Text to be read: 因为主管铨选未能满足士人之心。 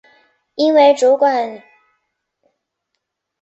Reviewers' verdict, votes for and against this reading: rejected, 0, 2